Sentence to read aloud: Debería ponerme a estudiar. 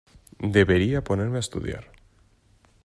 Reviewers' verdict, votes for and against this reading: accepted, 6, 0